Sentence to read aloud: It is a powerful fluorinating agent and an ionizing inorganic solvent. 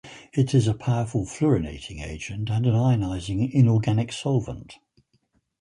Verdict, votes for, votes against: accepted, 4, 0